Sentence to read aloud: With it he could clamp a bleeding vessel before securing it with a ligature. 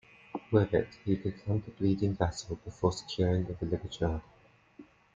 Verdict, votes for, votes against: rejected, 0, 2